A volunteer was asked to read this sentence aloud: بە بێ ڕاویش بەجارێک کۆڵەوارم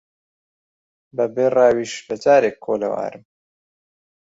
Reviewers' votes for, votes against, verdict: 1, 2, rejected